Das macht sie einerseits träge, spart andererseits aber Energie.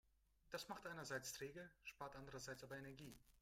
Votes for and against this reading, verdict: 1, 2, rejected